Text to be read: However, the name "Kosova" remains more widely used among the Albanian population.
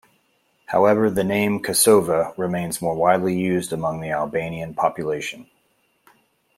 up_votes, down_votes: 2, 0